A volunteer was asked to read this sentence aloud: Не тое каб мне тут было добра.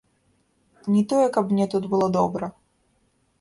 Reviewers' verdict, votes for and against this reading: rejected, 1, 2